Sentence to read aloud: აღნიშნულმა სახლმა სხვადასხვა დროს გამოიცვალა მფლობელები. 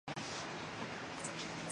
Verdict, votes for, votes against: rejected, 0, 2